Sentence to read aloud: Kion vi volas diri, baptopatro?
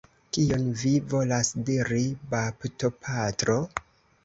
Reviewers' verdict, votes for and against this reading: accepted, 2, 1